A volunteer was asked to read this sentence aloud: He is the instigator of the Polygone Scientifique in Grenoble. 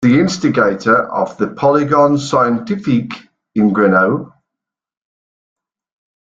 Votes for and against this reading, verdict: 1, 2, rejected